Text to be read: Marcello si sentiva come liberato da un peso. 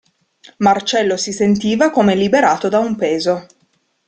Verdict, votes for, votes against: accepted, 2, 0